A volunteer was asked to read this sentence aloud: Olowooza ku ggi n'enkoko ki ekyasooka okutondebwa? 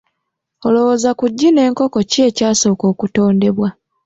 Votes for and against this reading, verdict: 2, 0, accepted